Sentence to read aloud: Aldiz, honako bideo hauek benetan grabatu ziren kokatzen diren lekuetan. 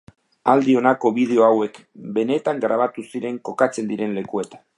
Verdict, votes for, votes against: accepted, 2, 0